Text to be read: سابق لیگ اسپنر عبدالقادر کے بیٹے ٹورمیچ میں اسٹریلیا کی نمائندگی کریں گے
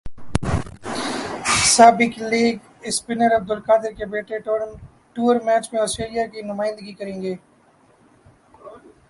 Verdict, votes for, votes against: rejected, 1, 2